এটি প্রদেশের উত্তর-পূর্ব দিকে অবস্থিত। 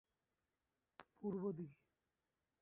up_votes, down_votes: 0, 2